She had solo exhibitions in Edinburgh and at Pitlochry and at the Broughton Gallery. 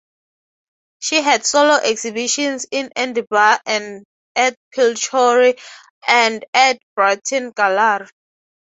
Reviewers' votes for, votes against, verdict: 0, 6, rejected